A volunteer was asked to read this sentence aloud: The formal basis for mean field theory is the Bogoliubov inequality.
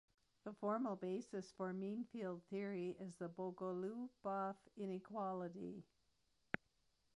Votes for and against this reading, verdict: 1, 2, rejected